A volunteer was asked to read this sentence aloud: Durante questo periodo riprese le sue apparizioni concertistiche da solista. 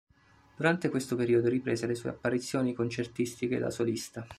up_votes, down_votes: 2, 0